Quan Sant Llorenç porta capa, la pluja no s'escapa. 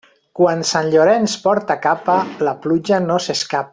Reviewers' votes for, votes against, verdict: 0, 2, rejected